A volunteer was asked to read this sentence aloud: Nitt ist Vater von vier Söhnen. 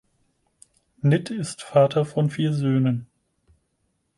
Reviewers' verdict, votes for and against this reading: accepted, 4, 0